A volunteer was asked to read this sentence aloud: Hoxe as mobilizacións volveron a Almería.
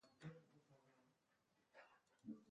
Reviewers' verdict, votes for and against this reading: rejected, 0, 2